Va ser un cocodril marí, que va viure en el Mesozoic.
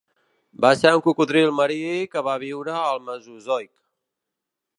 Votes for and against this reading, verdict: 1, 2, rejected